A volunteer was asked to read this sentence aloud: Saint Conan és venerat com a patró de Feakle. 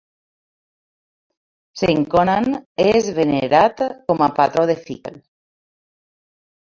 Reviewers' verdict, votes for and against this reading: rejected, 1, 2